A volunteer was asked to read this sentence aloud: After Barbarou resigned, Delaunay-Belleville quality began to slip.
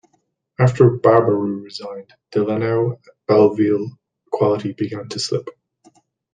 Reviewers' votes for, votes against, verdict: 0, 3, rejected